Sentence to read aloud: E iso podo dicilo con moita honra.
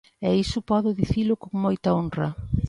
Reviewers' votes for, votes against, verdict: 2, 0, accepted